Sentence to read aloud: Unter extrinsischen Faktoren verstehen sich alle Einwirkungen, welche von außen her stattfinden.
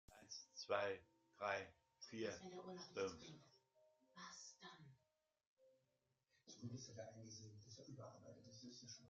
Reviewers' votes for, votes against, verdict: 0, 2, rejected